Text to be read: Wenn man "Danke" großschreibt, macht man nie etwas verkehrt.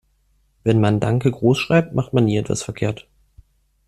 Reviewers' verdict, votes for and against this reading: accepted, 2, 0